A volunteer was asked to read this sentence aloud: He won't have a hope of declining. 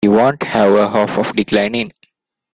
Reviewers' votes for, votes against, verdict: 1, 2, rejected